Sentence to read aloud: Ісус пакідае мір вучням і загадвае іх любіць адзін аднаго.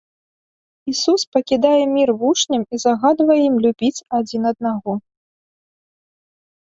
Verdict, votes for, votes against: rejected, 0, 2